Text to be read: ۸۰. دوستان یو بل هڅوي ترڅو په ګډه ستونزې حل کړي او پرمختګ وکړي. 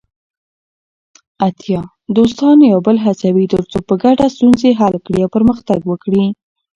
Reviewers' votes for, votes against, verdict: 0, 2, rejected